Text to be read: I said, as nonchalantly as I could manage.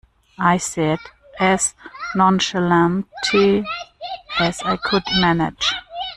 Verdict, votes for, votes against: rejected, 1, 2